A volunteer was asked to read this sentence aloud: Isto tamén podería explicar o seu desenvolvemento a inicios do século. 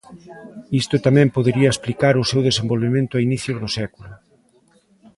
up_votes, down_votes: 1, 2